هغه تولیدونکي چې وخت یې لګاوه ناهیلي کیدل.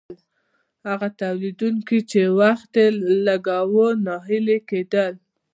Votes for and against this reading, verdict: 2, 0, accepted